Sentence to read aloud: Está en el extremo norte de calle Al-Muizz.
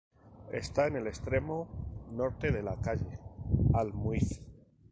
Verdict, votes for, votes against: accepted, 2, 0